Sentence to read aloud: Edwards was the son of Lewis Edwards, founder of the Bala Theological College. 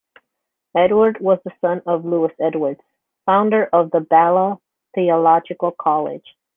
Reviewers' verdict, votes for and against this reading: accepted, 2, 1